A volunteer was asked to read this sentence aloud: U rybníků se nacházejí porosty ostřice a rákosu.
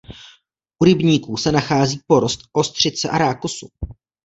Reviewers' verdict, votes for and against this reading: rejected, 0, 2